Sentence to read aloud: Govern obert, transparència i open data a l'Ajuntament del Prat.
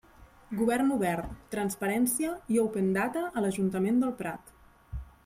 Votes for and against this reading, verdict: 3, 0, accepted